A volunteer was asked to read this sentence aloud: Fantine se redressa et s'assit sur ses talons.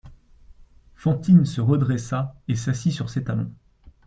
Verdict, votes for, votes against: accepted, 2, 0